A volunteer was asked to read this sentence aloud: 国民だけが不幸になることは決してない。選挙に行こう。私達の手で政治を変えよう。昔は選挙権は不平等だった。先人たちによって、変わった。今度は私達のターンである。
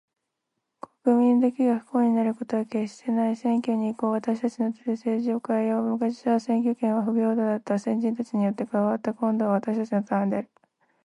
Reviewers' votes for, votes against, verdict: 2, 1, accepted